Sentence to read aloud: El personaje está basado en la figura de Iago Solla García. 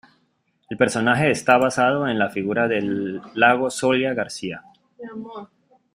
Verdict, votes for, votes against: accepted, 2, 0